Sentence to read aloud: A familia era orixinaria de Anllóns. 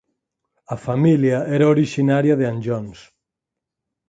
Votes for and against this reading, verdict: 4, 0, accepted